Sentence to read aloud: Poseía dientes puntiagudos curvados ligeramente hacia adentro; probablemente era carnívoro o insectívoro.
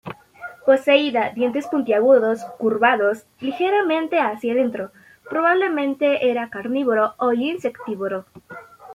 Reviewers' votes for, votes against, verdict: 0, 2, rejected